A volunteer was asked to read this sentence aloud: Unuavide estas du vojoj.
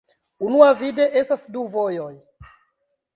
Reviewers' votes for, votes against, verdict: 2, 1, accepted